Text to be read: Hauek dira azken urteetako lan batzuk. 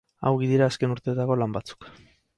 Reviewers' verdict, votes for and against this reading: rejected, 0, 2